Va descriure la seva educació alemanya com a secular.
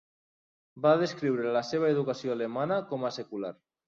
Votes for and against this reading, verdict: 2, 3, rejected